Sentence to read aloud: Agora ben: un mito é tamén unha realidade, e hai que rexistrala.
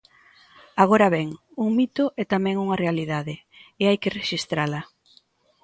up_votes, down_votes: 2, 0